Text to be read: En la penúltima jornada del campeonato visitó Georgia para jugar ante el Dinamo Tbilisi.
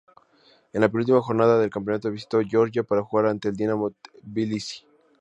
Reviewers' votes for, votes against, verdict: 2, 0, accepted